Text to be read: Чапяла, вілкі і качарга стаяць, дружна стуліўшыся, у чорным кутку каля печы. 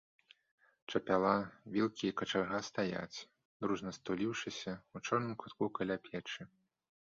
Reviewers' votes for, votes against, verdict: 2, 0, accepted